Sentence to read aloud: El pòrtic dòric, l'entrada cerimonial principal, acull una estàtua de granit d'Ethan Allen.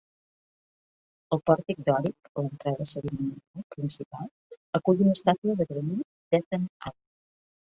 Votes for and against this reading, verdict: 0, 2, rejected